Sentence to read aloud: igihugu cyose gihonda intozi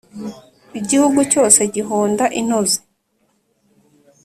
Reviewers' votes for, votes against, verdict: 3, 1, accepted